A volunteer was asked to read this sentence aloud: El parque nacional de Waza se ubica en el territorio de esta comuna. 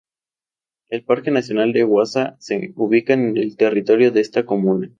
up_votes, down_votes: 2, 2